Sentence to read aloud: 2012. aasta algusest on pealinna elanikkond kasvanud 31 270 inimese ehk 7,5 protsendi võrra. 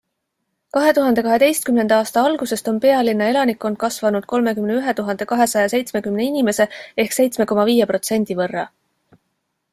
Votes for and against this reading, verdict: 0, 2, rejected